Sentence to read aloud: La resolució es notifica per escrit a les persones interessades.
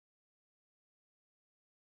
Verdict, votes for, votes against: rejected, 0, 2